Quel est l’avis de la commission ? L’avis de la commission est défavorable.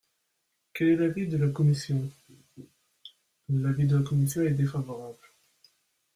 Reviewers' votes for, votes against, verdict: 0, 2, rejected